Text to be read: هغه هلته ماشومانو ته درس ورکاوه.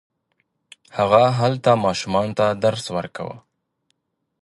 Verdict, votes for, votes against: accepted, 2, 0